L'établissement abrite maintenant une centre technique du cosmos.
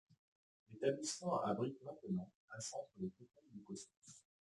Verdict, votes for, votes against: accepted, 2, 1